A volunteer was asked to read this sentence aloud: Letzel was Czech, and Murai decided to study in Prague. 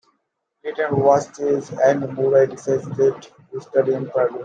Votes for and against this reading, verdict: 0, 2, rejected